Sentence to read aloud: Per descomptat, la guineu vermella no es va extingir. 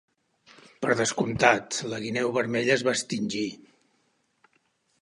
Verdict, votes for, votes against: rejected, 1, 2